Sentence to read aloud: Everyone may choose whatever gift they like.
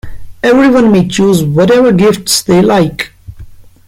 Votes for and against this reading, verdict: 1, 2, rejected